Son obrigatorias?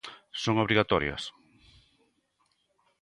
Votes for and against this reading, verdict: 2, 0, accepted